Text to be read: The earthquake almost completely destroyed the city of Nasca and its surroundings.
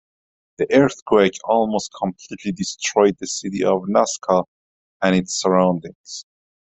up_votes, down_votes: 2, 0